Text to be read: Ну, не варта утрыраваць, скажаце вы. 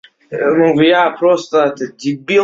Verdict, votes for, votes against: rejected, 0, 2